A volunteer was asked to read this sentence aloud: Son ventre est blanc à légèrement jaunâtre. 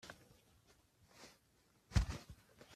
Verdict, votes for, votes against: rejected, 0, 2